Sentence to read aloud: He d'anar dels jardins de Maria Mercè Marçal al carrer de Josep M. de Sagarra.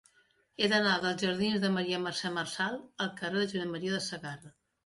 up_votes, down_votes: 2, 1